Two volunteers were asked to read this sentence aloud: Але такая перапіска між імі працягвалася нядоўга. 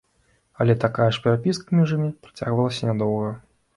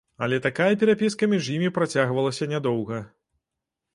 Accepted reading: second